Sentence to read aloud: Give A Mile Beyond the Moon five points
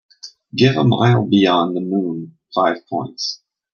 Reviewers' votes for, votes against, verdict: 2, 0, accepted